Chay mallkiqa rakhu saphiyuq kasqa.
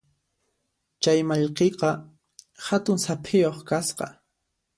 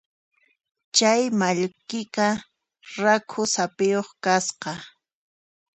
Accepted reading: second